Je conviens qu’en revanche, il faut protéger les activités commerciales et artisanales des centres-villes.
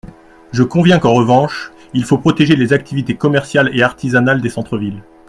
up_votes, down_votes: 2, 0